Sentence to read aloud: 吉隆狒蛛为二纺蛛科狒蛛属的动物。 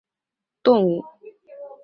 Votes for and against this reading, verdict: 1, 4, rejected